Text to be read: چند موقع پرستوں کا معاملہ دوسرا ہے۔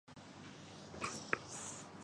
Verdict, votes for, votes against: rejected, 0, 2